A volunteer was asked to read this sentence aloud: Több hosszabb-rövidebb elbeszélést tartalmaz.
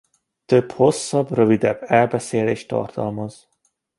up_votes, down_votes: 2, 0